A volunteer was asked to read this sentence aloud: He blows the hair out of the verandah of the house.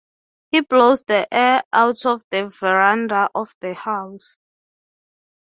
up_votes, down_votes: 3, 3